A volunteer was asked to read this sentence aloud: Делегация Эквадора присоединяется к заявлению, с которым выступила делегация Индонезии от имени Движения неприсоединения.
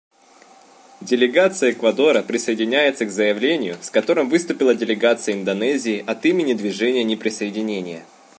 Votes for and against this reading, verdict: 1, 2, rejected